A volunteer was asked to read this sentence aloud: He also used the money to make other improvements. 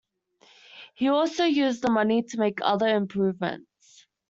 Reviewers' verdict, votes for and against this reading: accepted, 2, 0